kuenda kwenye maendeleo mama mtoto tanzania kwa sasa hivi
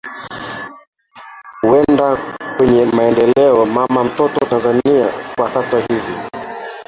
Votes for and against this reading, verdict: 1, 2, rejected